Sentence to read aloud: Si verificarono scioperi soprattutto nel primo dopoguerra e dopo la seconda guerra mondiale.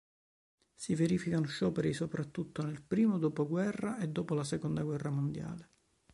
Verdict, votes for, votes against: rejected, 1, 2